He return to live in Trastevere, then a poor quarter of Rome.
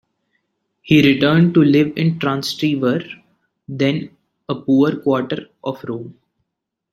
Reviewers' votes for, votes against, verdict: 1, 2, rejected